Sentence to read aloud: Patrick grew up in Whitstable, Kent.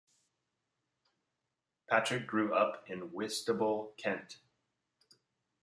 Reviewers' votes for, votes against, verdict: 2, 0, accepted